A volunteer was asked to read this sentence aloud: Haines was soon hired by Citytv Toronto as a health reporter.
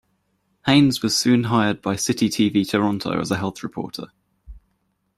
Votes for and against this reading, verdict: 2, 0, accepted